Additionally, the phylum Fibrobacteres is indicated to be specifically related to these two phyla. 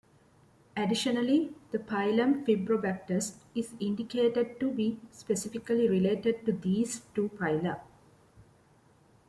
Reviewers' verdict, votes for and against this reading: accepted, 3, 1